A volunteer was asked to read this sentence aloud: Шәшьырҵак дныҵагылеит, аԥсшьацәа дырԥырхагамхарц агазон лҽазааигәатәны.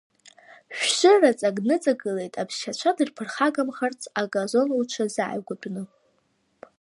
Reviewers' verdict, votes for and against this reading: rejected, 0, 2